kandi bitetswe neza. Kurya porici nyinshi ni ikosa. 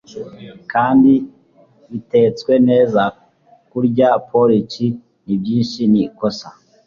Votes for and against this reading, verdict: 1, 2, rejected